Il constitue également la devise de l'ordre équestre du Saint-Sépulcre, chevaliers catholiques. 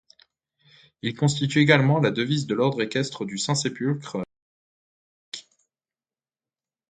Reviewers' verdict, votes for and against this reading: rejected, 0, 2